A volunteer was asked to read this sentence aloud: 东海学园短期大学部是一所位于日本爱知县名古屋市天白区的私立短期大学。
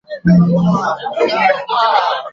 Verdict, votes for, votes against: rejected, 0, 2